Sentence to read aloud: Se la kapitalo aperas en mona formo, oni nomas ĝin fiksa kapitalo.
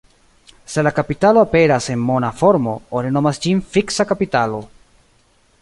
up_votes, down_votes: 1, 2